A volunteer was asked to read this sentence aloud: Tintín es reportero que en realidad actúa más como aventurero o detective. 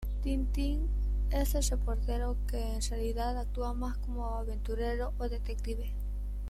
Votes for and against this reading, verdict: 0, 2, rejected